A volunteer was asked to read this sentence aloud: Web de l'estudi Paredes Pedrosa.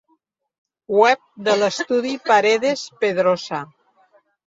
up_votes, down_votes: 1, 2